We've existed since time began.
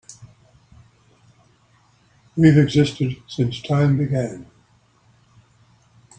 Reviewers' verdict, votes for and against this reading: accepted, 3, 1